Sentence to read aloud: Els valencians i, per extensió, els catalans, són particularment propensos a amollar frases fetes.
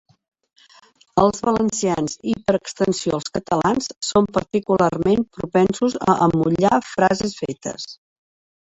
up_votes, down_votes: 2, 1